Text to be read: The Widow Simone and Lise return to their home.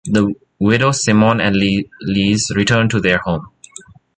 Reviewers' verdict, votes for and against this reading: rejected, 1, 2